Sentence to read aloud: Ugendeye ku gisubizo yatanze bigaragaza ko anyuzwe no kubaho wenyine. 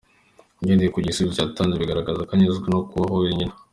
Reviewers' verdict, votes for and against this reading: accepted, 2, 0